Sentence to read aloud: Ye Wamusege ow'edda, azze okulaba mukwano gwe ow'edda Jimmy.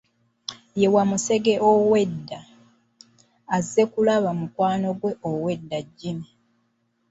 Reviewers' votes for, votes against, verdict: 1, 2, rejected